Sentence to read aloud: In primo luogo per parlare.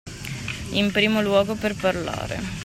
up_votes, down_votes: 2, 0